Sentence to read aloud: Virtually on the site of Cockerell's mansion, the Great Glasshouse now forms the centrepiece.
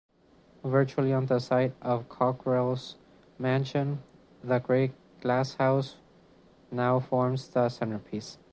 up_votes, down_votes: 3, 0